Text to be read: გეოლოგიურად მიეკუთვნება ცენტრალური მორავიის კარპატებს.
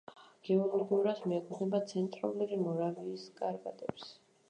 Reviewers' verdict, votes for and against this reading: rejected, 1, 2